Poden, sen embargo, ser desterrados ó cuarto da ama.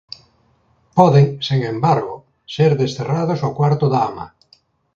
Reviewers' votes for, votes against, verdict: 1, 2, rejected